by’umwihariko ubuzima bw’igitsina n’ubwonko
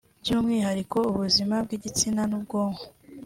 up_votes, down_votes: 2, 0